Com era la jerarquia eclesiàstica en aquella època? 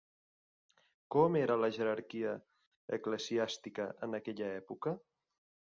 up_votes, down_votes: 5, 0